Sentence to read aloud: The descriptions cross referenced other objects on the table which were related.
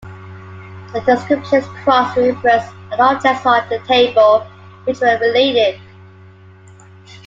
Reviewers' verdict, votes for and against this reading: rejected, 1, 2